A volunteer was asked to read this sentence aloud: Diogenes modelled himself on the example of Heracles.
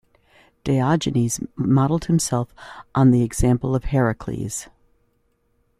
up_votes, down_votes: 2, 0